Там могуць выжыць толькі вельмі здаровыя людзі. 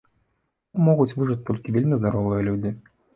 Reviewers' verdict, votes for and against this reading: rejected, 0, 2